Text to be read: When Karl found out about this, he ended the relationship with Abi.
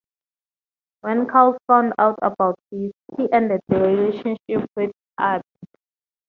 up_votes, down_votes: 2, 0